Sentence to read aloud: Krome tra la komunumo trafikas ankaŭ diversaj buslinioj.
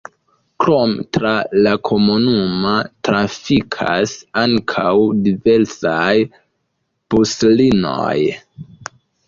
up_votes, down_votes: 1, 2